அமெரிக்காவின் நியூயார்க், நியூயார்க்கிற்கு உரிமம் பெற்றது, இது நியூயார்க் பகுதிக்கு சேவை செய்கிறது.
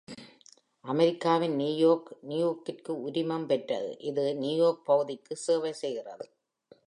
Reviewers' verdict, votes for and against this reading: accepted, 2, 0